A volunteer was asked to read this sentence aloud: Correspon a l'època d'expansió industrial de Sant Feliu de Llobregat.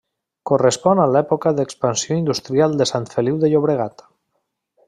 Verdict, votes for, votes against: rejected, 0, 2